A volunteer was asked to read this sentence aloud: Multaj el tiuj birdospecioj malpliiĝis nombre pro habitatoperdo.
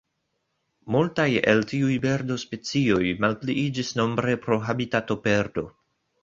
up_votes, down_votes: 0, 2